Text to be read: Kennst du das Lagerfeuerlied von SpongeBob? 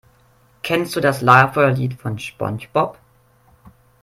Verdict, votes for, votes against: rejected, 2, 3